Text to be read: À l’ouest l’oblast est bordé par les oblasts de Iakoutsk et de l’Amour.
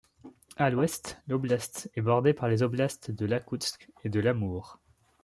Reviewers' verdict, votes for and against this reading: rejected, 0, 2